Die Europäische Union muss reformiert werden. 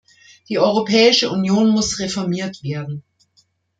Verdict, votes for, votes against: accepted, 2, 0